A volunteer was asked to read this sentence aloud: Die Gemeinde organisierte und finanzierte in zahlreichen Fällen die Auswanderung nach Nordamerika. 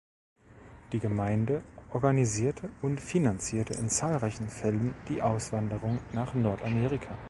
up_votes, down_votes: 2, 0